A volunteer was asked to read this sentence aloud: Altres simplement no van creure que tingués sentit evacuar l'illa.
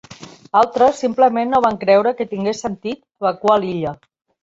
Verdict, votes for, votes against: rejected, 1, 2